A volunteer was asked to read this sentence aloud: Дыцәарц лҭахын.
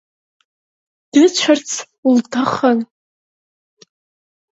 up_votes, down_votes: 3, 0